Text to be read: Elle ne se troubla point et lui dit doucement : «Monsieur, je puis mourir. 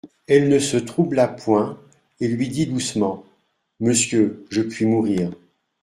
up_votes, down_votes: 2, 0